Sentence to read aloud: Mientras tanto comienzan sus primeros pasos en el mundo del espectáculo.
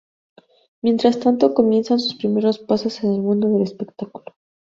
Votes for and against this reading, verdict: 0, 2, rejected